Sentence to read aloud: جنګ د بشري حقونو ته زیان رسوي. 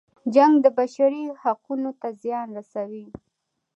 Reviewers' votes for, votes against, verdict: 0, 2, rejected